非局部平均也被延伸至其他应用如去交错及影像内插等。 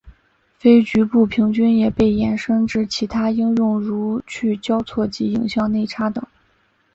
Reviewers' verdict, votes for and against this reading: accepted, 2, 0